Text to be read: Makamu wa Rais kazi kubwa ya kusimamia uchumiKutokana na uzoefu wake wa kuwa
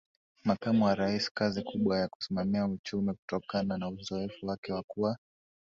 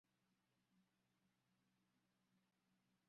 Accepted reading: first